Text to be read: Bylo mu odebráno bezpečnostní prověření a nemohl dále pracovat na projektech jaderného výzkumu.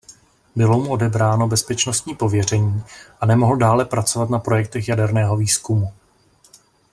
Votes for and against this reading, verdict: 0, 2, rejected